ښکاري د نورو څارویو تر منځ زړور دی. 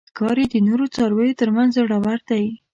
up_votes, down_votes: 0, 2